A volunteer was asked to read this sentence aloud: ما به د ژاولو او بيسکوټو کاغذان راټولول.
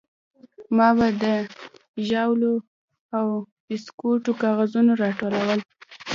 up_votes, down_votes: 1, 2